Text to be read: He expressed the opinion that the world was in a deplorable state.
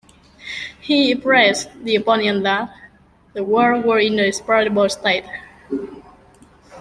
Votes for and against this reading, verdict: 1, 2, rejected